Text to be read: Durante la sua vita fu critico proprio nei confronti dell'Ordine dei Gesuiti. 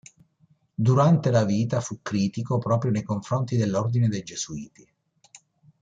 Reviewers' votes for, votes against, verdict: 0, 2, rejected